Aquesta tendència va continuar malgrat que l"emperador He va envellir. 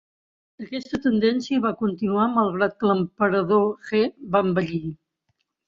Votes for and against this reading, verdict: 2, 1, accepted